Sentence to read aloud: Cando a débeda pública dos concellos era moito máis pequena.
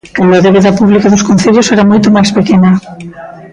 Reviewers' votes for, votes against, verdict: 0, 2, rejected